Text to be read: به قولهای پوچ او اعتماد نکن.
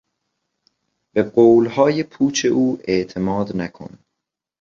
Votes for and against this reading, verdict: 2, 0, accepted